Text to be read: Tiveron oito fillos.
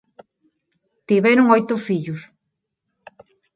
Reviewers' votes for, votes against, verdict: 4, 0, accepted